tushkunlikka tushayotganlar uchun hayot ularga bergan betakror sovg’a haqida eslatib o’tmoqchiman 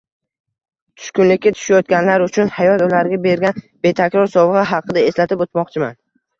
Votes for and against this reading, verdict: 2, 1, accepted